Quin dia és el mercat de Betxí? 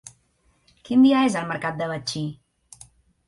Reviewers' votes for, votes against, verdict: 2, 0, accepted